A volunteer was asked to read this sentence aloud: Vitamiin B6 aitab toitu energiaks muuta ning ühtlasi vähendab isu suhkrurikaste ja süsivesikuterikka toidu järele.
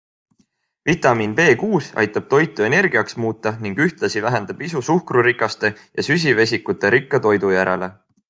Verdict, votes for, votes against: rejected, 0, 2